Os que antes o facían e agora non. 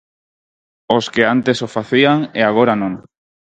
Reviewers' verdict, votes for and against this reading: accepted, 4, 2